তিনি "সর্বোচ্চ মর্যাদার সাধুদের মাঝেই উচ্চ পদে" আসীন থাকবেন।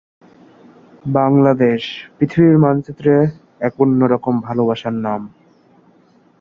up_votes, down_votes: 0, 2